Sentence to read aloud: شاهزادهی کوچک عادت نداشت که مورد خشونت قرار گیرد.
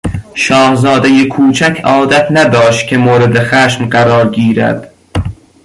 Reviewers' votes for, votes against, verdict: 0, 2, rejected